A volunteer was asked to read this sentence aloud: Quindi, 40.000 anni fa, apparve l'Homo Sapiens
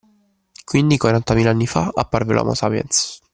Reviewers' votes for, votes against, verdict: 0, 2, rejected